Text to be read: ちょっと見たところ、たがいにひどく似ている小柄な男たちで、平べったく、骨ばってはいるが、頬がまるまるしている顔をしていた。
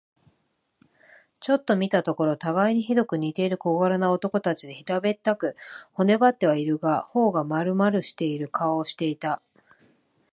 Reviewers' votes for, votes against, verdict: 2, 0, accepted